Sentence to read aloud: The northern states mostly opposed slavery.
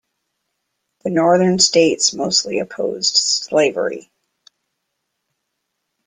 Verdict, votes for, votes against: accepted, 2, 0